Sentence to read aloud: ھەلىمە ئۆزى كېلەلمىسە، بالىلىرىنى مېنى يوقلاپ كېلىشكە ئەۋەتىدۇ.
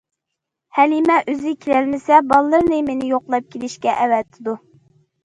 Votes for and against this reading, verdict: 2, 0, accepted